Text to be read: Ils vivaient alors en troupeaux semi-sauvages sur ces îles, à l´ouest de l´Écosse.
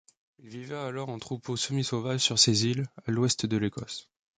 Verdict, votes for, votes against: accepted, 2, 1